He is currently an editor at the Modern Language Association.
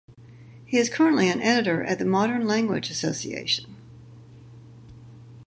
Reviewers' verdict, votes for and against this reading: accepted, 4, 0